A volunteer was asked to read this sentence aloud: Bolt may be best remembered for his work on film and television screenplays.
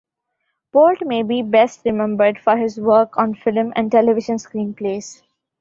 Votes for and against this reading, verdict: 2, 0, accepted